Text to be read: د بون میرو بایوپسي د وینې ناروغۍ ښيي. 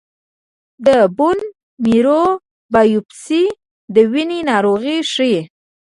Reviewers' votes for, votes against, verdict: 2, 0, accepted